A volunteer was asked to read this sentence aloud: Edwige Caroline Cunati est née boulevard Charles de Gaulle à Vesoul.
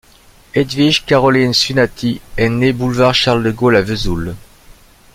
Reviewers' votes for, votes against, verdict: 1, 2, rejected